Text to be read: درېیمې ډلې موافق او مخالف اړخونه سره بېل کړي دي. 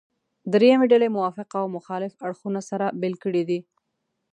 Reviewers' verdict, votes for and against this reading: accepted, 2, 0